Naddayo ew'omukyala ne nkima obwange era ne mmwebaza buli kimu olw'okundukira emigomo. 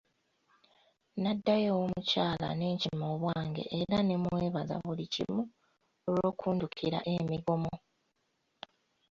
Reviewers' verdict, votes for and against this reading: accepted, 2, 0